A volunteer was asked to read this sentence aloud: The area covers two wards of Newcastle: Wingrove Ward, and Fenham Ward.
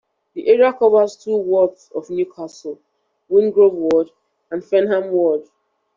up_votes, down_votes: 2, 0